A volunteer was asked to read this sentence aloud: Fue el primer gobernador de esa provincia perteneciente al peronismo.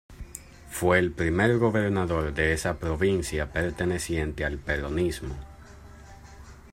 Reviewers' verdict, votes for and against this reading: accepted, 2, 0